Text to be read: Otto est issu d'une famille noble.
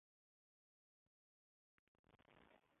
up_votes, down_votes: 0, 2